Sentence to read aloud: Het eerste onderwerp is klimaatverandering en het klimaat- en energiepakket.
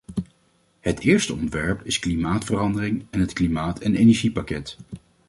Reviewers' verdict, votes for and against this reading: rejected, 0, 2